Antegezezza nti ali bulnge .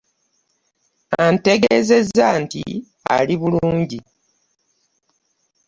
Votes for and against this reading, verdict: 0, 2, rejected